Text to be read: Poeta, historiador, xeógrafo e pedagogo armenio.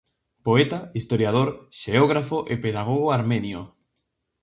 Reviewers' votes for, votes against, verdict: 2, 0, accepted